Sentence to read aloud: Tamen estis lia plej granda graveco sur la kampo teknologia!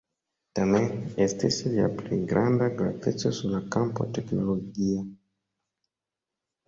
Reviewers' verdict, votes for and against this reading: accepted, 2, 0